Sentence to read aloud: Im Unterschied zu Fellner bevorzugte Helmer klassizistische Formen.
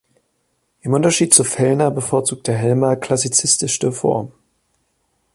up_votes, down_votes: 0, 2